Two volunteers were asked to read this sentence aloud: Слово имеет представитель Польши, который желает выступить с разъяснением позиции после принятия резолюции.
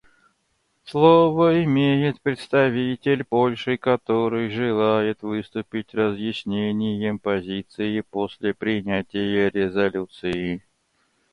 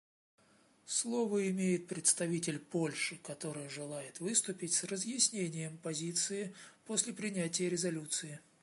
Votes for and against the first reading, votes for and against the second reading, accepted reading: 0, 2, 2, 0, second